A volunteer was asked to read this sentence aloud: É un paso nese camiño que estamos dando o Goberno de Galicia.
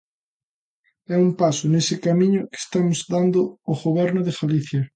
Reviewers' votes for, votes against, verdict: 2, 0, accepted